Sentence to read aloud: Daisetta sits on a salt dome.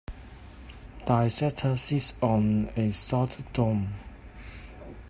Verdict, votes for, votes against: rejected, 1, 2